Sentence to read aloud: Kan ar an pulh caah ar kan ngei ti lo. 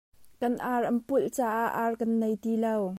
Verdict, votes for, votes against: rejected, 1, 2